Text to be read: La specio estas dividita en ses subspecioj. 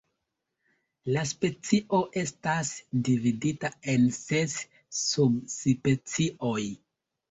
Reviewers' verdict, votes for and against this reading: rejected, 0, 2